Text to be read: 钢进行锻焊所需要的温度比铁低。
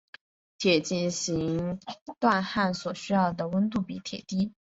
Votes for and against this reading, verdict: 0, 5, rejected